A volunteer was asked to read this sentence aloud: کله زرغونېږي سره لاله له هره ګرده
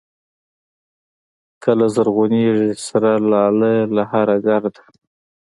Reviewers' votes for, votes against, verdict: 2, 1, accepted